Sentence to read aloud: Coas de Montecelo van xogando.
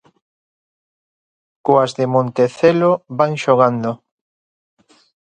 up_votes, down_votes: 2, 0